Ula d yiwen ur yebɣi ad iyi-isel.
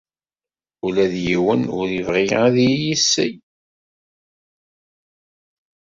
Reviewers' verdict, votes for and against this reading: accepted, 2, 0